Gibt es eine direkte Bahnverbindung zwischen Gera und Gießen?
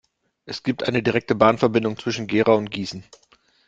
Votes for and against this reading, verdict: 0, 2, rejected